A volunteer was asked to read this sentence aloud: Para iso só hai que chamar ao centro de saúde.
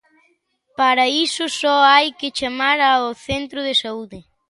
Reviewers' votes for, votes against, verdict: 2, 1, accepted